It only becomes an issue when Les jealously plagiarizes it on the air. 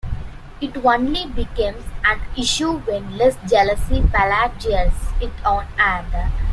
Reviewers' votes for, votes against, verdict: 0, 2, rejected